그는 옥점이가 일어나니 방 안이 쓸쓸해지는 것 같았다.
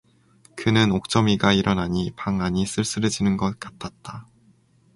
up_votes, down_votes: 4, 0